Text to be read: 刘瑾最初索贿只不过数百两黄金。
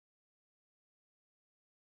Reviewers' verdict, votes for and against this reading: rejected, 1, 2